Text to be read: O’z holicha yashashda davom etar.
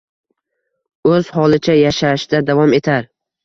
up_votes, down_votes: 2, 0